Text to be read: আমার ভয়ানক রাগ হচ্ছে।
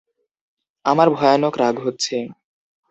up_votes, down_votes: 2, 0